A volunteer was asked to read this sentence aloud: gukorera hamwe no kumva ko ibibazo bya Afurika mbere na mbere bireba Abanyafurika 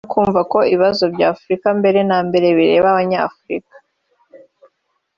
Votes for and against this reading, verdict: 3, 4, rejected